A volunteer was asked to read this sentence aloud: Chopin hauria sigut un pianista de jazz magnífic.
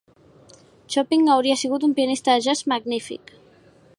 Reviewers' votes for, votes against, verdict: 2, 0, accepted